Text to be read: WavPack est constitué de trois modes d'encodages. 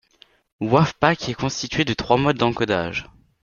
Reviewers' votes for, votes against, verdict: 2, 0, accepted